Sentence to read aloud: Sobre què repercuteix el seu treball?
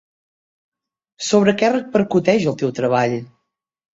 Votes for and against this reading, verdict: 0, 3, rejected